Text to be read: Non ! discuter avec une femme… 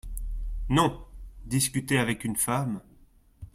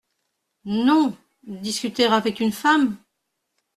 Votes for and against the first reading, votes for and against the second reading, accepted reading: 2, 0, 1, 2, first